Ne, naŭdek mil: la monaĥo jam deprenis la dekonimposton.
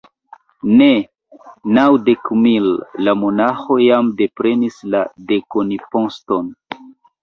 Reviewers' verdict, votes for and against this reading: rejected, 0, 2